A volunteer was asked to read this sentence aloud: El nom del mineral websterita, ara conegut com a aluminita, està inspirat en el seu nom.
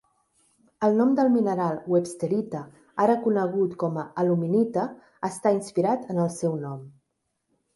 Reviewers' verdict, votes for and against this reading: accepted, 3, 0